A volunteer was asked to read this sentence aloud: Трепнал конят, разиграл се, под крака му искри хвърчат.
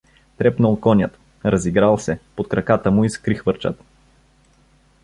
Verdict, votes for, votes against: rejected, 0, 2